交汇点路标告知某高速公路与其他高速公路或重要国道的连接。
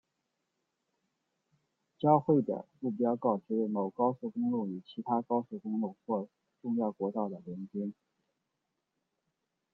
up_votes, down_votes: 1, 3